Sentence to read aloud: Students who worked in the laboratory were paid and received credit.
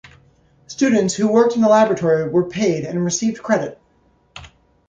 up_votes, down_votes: 2, 0